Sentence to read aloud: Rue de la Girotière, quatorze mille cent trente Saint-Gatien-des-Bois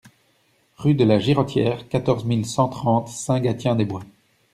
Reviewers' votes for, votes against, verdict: 1, 2, rejected